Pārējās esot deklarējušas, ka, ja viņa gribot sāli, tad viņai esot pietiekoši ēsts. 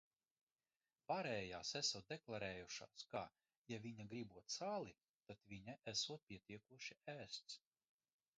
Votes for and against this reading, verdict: 0, 2, rejected